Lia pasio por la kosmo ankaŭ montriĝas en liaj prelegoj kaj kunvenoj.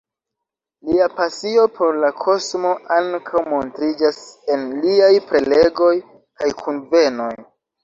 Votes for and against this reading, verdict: 3, 0, accepted